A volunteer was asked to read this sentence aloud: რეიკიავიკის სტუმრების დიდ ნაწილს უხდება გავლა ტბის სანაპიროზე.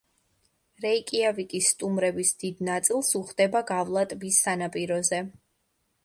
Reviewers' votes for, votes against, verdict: 2, 0, accepted